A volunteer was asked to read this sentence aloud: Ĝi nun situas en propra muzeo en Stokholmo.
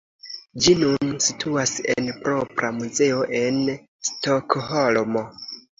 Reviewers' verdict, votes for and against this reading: accepted, 2, 1